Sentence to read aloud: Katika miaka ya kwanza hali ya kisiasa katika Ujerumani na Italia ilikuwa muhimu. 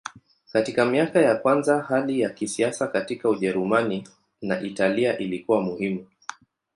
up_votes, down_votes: 10, 0